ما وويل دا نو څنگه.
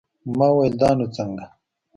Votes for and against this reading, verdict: 2, 0, accepted